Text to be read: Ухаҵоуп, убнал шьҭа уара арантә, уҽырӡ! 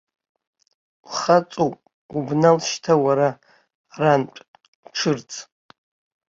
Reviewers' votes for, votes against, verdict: 1, 2, rejected